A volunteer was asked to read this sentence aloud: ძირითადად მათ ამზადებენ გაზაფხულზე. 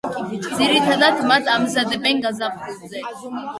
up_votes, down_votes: 1, 2